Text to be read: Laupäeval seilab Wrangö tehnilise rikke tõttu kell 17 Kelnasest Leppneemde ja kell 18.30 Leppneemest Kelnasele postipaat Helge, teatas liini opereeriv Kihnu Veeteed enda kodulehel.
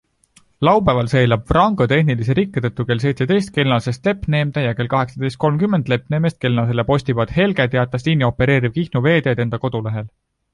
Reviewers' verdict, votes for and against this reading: rejected, 0, 2